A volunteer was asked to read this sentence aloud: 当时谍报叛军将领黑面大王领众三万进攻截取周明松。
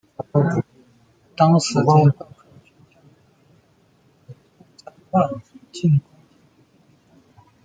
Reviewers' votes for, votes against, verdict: 0, 2, rejected